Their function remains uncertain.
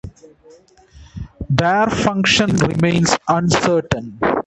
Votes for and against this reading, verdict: 1, 2, rejected